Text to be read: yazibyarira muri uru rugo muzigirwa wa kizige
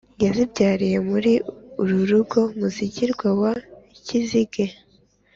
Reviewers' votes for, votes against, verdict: 2, 0, accepted